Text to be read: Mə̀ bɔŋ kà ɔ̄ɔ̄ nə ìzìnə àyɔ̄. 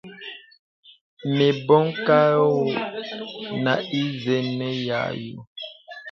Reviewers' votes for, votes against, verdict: 0, 2, rejected